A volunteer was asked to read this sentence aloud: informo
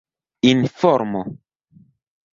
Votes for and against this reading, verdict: 1, 2, rejected